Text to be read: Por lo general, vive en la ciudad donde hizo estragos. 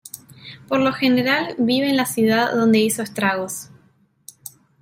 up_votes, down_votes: 0, 2